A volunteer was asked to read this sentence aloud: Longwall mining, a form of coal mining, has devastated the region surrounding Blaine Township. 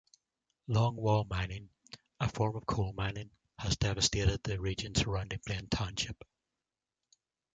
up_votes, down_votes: 0, 2